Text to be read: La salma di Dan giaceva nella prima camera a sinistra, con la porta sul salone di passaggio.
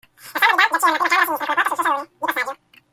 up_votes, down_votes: 0, 2